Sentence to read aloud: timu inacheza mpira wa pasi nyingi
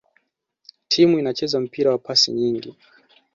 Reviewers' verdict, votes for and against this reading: accepted, 2, 1